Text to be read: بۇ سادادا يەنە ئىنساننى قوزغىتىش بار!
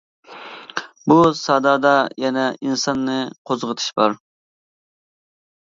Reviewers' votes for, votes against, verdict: 2, 0, accepted